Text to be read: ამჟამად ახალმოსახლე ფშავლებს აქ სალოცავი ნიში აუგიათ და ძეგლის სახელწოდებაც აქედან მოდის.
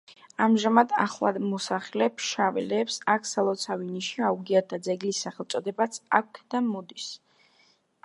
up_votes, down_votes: 2, 0